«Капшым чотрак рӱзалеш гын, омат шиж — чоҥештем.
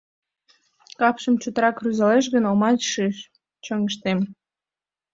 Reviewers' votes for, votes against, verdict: 2, 0, accepted